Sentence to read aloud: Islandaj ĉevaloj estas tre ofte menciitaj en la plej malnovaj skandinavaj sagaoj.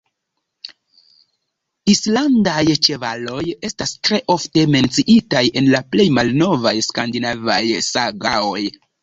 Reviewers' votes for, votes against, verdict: 2, 0, accepted